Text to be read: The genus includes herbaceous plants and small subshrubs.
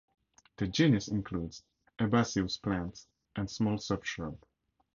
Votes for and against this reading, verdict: 0, 2, rejected